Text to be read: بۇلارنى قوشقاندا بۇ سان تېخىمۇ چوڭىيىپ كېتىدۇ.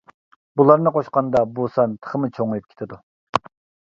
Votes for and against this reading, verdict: 2, 0, accepted